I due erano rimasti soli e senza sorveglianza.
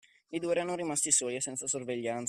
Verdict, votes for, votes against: rejected, 0, 2